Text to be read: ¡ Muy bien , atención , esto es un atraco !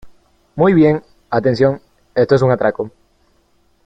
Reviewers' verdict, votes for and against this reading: accepted, 3, 0